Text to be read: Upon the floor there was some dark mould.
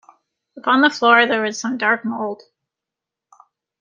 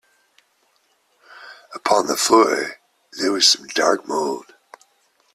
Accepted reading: second